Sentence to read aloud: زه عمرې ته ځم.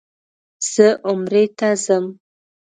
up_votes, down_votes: 2, 0